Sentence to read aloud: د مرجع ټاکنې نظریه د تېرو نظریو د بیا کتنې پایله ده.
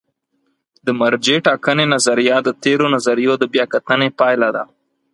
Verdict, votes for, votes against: accepted, 4, 0